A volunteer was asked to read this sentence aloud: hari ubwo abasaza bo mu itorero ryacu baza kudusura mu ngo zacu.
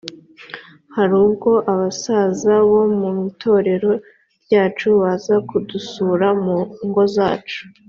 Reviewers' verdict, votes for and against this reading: accepted, 3, 0